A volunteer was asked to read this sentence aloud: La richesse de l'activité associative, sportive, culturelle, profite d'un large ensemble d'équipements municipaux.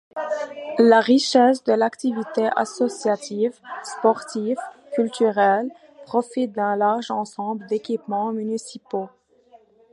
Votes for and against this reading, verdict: 2, 0, accepted